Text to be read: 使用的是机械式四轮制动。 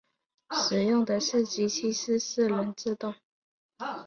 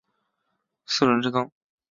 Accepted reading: first